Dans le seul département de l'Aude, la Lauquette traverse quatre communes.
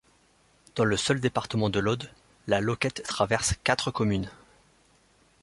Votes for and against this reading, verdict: 2, 0, accepted